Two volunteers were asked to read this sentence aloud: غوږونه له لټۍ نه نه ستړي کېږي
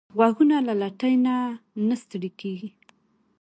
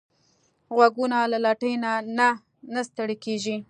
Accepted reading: first